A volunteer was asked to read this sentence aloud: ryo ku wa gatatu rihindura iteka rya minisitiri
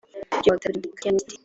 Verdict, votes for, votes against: rejected, 1, 2